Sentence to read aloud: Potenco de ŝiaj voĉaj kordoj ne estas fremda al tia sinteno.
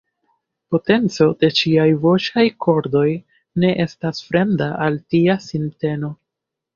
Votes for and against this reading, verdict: 2, 1, accepted